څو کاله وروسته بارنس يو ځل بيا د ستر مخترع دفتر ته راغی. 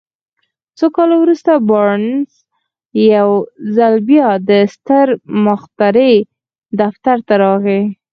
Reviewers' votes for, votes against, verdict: 4, 2, accepted